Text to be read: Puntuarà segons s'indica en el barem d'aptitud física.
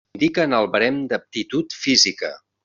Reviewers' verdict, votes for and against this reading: rejected, 0, 2